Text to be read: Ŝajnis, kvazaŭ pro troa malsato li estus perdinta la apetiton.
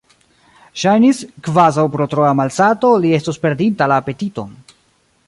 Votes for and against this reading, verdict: 1, 2, rejected